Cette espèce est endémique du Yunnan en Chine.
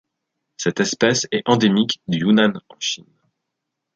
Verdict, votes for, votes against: rejected, 1, 2